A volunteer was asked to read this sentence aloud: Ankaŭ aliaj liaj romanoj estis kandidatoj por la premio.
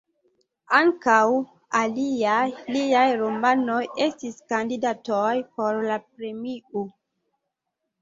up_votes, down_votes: 0, 2